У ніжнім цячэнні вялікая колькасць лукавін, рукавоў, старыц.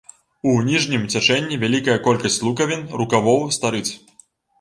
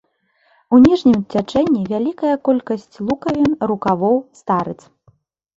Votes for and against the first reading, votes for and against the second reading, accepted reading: 1, 2, 2, 0, second